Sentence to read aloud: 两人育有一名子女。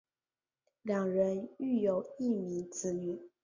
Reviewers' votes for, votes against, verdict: 2, 1, accepted